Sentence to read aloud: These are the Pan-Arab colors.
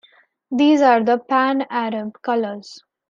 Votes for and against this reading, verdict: 2, 0, accepted